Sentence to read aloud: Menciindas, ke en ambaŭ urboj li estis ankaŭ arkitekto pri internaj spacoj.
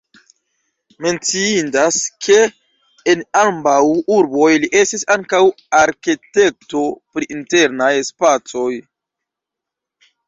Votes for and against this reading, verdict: 0, 2, rejected